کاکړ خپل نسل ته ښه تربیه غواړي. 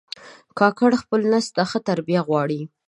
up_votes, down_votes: 0, 2